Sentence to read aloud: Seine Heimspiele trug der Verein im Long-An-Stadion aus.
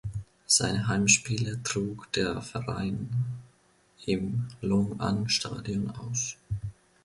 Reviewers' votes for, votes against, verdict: 2, 0, accepted